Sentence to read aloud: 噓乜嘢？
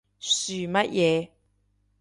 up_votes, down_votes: 2, 0